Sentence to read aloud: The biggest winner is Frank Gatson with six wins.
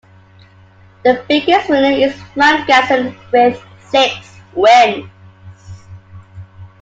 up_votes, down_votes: 2, 1